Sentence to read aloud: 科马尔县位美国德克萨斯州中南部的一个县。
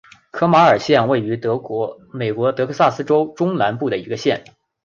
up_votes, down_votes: 2, 0